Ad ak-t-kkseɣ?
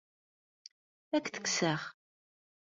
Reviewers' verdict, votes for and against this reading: rejected, 0, 2